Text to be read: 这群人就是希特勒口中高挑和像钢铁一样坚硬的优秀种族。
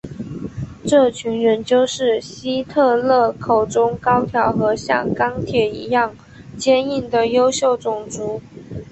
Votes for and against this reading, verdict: 1, 2, rejected